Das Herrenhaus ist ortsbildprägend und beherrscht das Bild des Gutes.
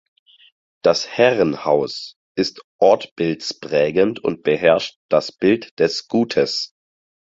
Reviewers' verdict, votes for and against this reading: rejected, 2, 4